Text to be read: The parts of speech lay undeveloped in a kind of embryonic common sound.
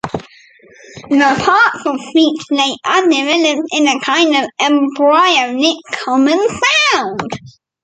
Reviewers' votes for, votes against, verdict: 0, 2, rejected